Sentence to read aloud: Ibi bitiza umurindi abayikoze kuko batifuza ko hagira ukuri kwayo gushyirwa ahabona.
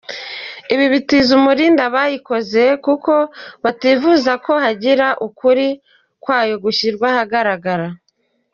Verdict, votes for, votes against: rejected, 0, 2